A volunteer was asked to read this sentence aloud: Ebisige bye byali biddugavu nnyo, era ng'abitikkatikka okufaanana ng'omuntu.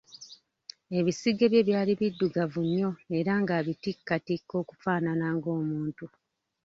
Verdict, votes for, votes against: accepted, 2, 1